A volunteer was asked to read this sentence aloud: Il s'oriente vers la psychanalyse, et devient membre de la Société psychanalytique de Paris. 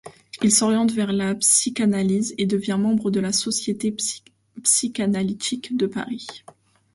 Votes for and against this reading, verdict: 0, 2, rejected